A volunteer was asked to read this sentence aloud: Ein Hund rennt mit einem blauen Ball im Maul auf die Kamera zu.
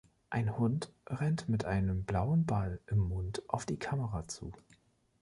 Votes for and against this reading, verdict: 0, 3, rejected